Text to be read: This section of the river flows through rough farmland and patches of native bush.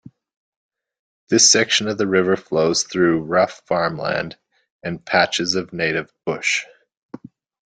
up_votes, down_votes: 2, 0